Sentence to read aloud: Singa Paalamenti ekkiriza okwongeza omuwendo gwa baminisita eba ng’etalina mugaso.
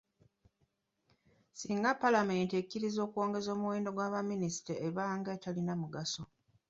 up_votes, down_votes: 2, 0